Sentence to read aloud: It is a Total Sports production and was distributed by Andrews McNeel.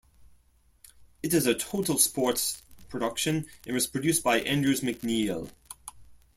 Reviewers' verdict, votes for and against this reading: rejected, 0, 2